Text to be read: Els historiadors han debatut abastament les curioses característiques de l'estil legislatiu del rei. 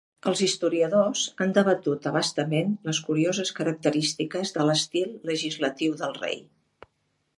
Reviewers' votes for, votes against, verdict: 2, 0, accepted